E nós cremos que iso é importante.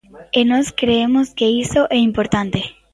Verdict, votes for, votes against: rejected, 0, 2